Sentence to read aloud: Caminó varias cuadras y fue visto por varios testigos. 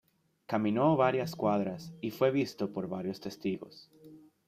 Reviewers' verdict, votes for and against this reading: accepted, 2, 0